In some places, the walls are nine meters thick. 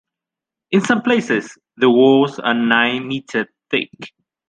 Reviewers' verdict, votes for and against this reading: accepted, 2, 1